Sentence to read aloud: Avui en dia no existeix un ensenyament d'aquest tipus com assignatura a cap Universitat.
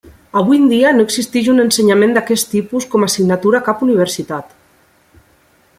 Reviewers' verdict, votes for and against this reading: rejected, 1, 2